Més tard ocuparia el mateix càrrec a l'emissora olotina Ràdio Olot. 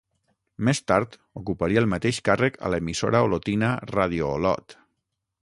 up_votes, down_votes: 3, 6